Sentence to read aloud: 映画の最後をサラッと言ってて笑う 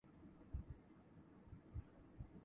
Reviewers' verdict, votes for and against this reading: rejected, 0, 2